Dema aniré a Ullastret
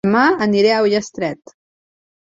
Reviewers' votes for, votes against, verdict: 1, 3, rejected